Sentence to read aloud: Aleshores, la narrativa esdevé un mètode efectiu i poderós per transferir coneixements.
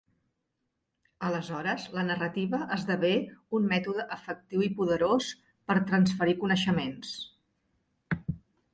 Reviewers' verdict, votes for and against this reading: accepted, 3, 0